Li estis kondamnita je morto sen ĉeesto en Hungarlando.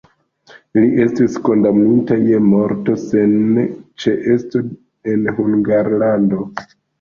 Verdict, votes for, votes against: rejected, 0, 2